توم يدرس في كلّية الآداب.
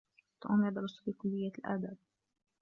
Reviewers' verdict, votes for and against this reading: rejected, 1, 2